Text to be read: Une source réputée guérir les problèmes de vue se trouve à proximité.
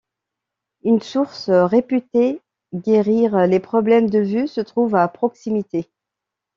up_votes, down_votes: 2, 0